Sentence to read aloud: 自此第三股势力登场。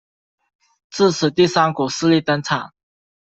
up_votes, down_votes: 2, 0